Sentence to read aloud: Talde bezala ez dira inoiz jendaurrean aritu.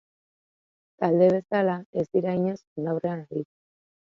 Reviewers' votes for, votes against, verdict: 1, 2, rejected